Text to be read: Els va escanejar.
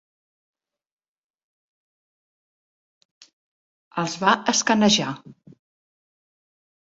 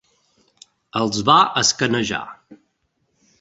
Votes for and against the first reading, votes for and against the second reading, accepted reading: 0, 2, 5, 0, second